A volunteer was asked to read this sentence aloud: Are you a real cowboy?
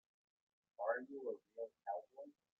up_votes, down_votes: 1, 2